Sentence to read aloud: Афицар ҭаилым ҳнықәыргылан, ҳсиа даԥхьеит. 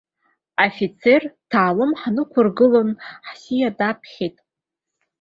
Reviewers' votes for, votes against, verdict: 1, 3, rejected